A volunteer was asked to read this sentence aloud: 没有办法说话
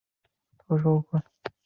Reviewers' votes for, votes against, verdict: 1, 2, rejected